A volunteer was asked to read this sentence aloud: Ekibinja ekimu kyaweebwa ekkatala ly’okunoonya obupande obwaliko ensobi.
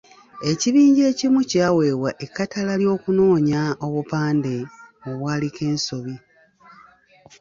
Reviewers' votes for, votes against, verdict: 1, 2, rejected